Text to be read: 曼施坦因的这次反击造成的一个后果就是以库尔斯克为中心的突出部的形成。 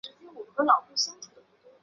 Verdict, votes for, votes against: rejected, 0, 2